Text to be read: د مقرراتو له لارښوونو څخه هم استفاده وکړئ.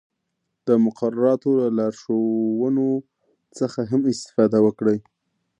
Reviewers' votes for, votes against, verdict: 1, 2, rejected